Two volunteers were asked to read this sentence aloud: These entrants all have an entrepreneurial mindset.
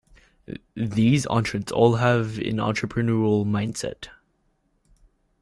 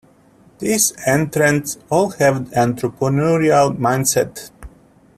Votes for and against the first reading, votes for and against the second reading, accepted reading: 2, 1, 1, 2, first